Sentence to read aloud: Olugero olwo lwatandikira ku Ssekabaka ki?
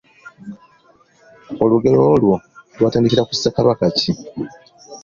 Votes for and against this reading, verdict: 2, 0, accepted